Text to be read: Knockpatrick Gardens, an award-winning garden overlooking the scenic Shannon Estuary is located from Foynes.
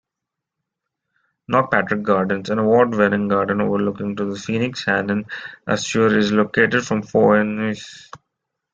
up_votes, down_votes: 0, 2